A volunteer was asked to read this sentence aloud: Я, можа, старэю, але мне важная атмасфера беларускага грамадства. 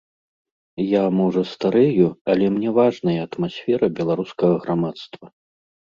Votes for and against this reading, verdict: 2, 0, accepted